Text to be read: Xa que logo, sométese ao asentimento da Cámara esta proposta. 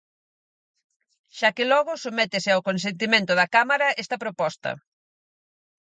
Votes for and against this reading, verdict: 2, 4, rejected